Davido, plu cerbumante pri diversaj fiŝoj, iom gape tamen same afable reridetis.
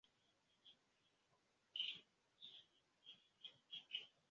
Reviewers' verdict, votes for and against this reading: rejected, 0, 2